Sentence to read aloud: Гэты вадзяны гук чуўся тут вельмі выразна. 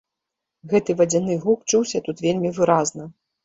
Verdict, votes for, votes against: accepted, 2, 0